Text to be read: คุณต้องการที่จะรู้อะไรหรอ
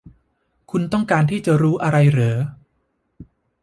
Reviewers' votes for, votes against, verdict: 0, 3, rejected